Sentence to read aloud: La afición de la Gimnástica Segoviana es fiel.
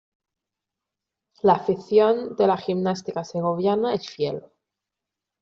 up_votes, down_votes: 2, 1